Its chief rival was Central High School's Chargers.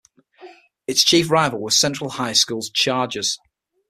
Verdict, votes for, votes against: accepted, 6, 0